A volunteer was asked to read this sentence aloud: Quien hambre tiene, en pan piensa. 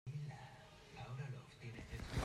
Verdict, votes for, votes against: rejected, 0, 2